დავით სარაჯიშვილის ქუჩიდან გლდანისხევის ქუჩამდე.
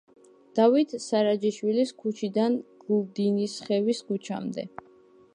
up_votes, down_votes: 2, 0